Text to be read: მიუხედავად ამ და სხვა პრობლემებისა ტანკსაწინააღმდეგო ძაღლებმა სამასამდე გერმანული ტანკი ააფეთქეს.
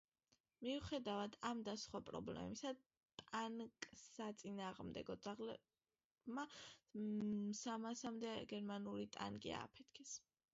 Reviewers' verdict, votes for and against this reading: accepted, 2, 1